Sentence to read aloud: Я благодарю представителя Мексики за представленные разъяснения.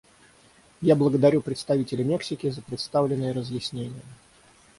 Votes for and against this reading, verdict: 6, 0, accepted